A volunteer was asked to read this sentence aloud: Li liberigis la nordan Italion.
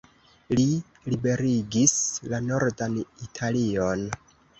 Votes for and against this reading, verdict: 2, 1, accepted